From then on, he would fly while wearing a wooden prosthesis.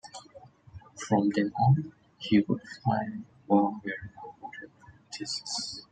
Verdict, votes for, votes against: rejected, 1, 2